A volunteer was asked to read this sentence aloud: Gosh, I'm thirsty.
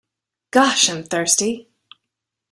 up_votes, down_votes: 2, 0